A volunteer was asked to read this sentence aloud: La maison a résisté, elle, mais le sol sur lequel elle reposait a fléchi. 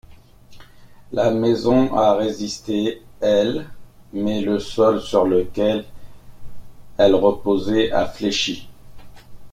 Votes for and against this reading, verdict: 1, 2, rejected